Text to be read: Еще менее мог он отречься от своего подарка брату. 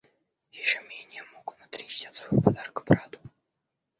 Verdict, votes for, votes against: rejected, 1, 2